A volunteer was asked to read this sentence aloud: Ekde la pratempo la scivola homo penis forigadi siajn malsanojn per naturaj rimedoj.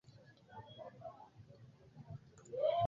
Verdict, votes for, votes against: rejected, 1, 2